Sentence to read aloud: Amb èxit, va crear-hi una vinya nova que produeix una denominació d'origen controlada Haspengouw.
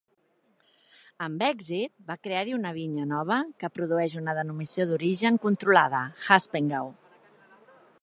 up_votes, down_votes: 0, 2